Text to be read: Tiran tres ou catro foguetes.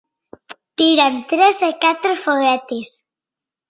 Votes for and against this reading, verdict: 0, 2, rejected